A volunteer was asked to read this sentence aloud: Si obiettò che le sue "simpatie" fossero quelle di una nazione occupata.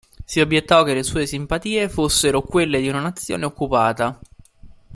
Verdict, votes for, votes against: accepted, 3, 0